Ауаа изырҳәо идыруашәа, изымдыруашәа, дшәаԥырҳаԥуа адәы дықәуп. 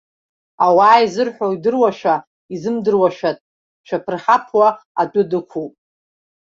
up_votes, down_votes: 0, 2